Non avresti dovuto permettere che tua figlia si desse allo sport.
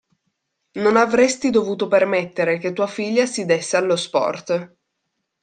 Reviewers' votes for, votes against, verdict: 2, 0, accepted